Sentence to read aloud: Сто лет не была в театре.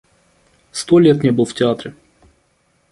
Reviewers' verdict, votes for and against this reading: accepted, 2, 0